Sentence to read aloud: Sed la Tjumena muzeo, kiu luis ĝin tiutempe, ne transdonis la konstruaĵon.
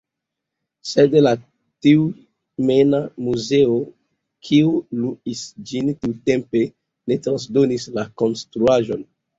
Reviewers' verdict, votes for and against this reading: rejected, 0, 2